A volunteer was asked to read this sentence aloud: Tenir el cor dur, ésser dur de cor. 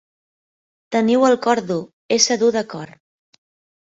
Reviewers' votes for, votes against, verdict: 0, 2, rejected